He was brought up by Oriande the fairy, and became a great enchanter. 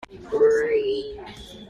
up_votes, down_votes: 0, 2